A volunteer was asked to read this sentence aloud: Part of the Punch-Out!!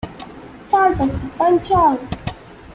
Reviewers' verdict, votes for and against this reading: accepted, 2, 0